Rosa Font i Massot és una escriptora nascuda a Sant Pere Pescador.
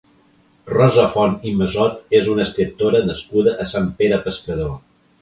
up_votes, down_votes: 1, 2